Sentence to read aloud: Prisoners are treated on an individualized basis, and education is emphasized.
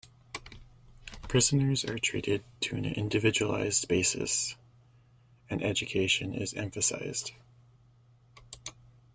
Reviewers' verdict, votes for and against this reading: rejected, 0, 2